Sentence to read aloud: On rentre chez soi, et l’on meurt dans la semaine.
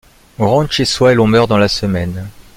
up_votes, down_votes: 2, 1